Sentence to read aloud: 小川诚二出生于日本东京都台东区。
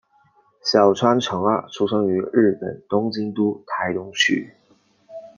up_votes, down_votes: 2, 0